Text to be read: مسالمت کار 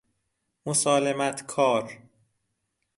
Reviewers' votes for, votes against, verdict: 2, 0, accepted